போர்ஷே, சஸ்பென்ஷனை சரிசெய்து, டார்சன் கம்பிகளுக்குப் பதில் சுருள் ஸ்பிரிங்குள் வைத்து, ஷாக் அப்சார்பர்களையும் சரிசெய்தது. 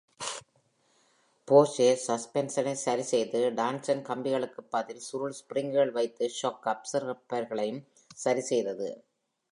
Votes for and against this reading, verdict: 0, 2, rejected